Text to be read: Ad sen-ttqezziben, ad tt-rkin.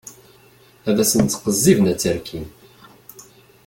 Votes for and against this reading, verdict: 2, 0, accepted